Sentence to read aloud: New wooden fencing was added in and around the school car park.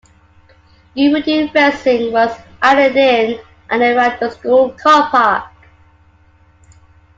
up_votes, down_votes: 1, 2